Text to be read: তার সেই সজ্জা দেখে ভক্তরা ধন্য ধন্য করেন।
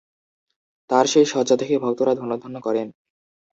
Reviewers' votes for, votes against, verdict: 1, 2, rejected